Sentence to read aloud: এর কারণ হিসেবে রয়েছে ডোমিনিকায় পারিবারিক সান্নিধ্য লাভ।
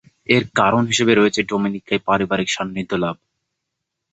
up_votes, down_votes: 2, 2